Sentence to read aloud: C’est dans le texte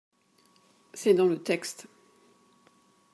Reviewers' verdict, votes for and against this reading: accepted, 2, 0